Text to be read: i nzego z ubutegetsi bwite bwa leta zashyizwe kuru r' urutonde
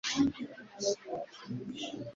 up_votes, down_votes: 0, 2